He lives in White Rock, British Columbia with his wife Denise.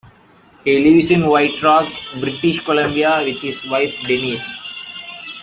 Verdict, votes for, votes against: accepted, 2, 1